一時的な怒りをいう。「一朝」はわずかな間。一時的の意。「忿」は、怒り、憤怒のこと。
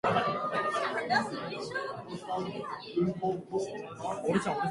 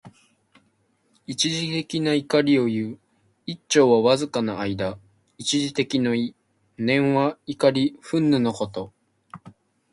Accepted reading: first